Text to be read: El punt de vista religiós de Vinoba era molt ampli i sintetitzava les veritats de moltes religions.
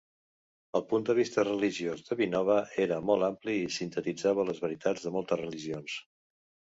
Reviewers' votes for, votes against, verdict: 2, 0, accepted